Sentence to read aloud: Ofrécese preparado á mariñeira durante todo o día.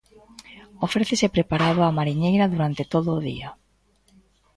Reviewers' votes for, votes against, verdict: 2, 0, accepted